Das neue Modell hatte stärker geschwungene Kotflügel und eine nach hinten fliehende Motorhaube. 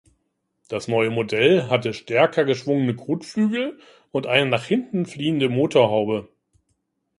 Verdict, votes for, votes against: accepted, 2, 0